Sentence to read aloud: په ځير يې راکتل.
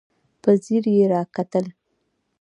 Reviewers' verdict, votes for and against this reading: accepted, 2, 0